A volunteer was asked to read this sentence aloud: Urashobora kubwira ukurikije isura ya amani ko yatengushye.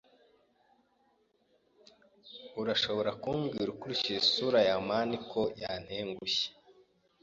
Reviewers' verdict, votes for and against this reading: rejected, 1, 2